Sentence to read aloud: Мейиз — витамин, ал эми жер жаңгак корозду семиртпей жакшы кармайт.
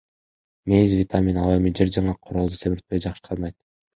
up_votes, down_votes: 0, 2